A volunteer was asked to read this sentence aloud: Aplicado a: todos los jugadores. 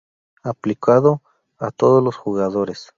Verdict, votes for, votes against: rejected, 0, 2